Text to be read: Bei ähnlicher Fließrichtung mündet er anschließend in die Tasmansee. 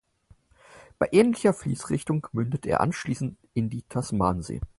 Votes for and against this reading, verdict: 4, 0, accepted